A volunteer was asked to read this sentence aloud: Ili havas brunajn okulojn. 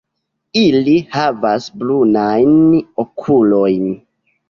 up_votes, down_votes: 2, 0